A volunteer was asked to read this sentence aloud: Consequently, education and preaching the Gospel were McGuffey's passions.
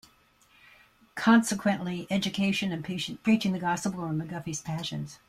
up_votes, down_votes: 2, 0